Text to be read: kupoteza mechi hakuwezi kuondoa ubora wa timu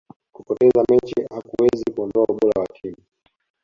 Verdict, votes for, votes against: rejected, 2, 3